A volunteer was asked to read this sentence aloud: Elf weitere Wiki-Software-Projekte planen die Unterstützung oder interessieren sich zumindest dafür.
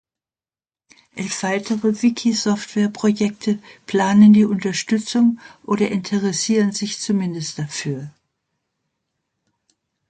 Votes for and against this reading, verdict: 2, 0, accepted